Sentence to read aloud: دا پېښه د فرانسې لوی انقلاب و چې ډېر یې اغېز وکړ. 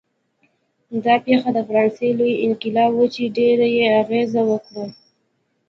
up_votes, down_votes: 2, 0